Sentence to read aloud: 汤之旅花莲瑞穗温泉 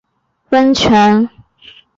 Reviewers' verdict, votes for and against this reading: rejected, 0, 3